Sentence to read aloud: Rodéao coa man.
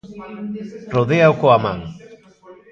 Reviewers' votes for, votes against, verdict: 1, 2, rejected